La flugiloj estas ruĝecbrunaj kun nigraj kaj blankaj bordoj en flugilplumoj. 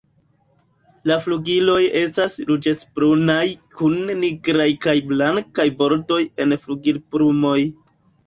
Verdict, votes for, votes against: accepted, 2, 0